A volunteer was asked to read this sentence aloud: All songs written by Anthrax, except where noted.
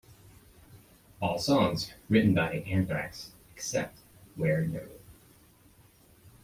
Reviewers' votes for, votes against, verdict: 1, 2, rejected